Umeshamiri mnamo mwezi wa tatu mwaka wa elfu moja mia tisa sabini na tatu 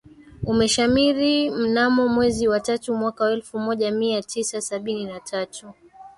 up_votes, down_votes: 1, 2